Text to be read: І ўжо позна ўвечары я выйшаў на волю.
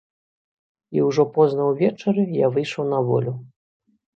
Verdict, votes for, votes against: accepted, 2, 0